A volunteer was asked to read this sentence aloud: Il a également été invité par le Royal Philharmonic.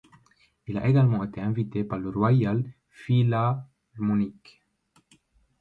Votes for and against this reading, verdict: 1, 2, rejected